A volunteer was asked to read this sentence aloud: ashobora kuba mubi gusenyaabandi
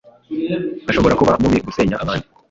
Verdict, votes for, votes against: rejected, 1, 2